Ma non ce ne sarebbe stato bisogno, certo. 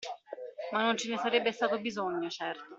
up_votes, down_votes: 2, 1